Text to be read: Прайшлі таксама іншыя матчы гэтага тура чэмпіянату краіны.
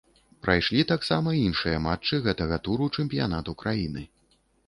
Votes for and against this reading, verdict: 1, 2, rejected